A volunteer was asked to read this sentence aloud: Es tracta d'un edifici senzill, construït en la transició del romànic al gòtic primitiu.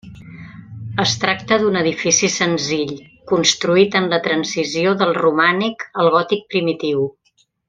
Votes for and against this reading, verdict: 4, 0, accepted